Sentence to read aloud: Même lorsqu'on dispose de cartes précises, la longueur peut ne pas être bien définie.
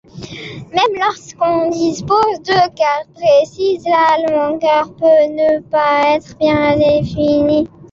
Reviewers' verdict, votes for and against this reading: rejected, 0, 2